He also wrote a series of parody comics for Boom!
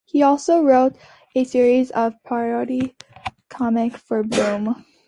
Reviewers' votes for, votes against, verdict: 2, 1, accepted